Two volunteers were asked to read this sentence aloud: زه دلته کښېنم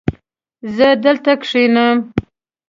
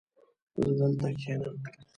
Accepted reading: first